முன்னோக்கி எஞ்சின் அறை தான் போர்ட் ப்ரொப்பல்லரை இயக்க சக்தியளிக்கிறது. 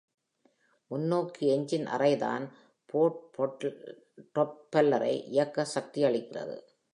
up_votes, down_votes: 0, 2